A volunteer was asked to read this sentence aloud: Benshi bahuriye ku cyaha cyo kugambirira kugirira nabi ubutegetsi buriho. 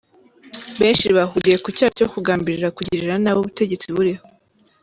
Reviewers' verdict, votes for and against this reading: rejected, 1, 2